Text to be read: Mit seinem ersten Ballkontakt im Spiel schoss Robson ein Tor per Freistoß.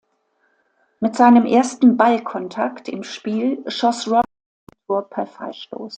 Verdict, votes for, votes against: rejected, 0, 2